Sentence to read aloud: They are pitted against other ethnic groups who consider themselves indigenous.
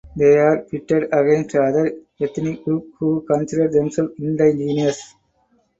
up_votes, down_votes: 0, 2